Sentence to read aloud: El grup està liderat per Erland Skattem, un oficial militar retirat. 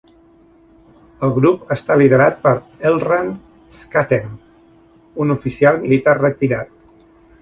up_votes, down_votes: 1, 2